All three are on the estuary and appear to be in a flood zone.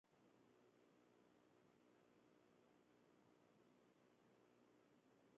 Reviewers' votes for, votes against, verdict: 0, 2, rejected